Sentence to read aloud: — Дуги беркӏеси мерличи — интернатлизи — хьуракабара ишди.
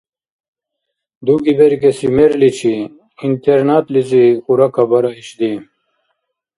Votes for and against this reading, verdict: 2, 0, accepted